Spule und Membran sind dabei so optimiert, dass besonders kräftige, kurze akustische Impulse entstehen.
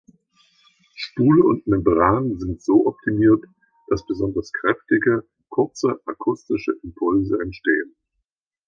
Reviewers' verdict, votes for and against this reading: rejected, 0, 2